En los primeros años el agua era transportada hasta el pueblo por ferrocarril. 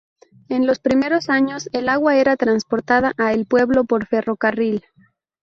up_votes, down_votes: 0, 2